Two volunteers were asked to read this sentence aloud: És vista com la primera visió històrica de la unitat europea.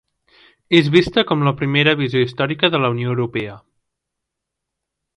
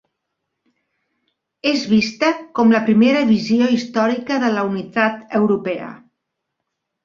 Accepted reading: second